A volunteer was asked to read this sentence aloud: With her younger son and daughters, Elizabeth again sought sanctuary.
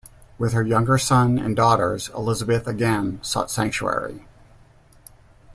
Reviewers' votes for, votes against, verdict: 2, 0, accepted